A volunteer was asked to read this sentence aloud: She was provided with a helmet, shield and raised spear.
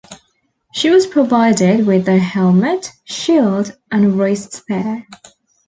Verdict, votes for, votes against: accepted, 2, 0